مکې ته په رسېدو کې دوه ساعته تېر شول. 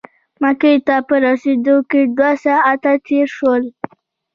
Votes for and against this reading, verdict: 2, 0, accepted